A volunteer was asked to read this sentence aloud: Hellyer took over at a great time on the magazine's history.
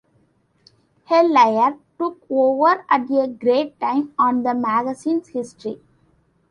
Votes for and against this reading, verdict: 2, 0, accepted